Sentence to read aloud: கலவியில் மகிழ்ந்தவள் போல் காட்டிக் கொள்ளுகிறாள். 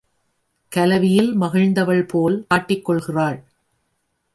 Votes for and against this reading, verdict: 1, 2, rejected